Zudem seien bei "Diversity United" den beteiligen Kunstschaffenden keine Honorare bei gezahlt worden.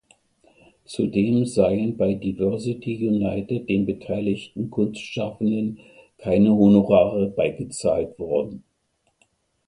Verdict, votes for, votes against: rejected, 1, 2